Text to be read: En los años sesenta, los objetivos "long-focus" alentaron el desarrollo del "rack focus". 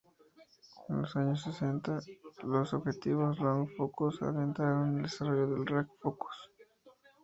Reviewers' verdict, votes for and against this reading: rejected, 0, 2